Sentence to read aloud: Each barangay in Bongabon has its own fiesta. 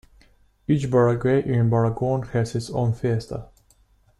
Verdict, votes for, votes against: rejected, 0, 2